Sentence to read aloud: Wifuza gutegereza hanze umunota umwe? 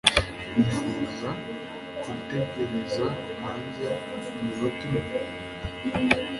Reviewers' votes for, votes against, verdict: 1, 2, rejected